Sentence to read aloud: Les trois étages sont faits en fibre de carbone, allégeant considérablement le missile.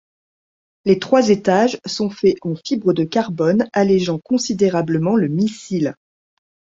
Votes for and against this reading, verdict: 2, 0, accepted